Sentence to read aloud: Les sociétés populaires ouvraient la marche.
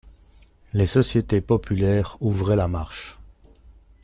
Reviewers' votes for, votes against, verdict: 2, 0, accepted